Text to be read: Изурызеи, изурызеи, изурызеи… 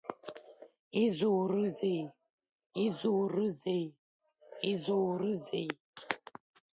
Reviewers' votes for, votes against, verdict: 0, 2, rejected